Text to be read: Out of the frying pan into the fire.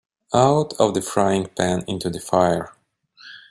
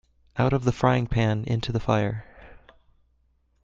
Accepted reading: second